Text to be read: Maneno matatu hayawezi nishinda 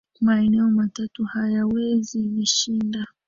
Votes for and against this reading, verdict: 0, 2, rejected